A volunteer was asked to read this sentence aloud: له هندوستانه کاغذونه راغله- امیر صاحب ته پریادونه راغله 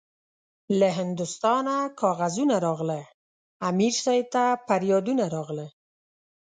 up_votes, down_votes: 2, 0